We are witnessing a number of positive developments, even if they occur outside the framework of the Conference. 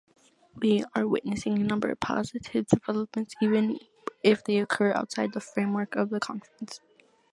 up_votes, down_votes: 2, 0